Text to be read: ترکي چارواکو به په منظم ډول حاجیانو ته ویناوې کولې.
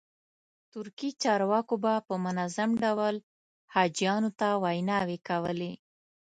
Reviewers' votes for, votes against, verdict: 2, 0, accepted